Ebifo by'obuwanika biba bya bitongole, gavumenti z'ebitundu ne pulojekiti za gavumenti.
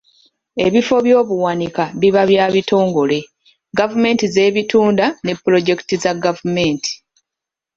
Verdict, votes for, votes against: rejected, 0, 2